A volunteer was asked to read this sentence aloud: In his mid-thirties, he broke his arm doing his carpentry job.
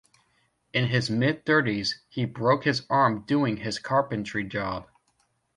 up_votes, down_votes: 2, 0